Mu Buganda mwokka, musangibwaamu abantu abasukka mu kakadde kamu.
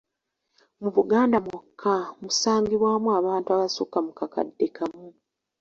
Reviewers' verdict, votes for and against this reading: accepted, 2, 0